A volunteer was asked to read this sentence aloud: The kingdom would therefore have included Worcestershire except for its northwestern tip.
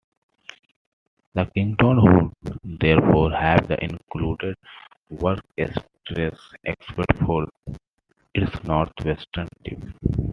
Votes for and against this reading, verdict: 0, 2, rejected